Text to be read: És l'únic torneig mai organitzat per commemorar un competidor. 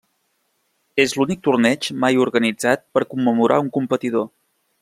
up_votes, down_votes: 3, 0